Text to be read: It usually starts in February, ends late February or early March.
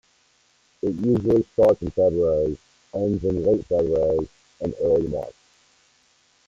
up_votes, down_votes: 1, 2